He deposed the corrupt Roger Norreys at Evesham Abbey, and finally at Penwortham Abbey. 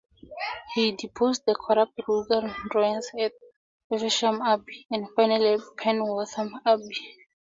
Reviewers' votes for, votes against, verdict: 0, 2, rejected